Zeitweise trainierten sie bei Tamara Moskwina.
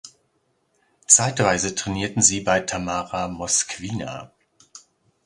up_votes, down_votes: 2, 1